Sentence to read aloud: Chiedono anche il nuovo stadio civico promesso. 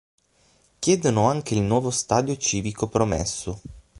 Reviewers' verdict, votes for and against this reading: accepted, 6, 0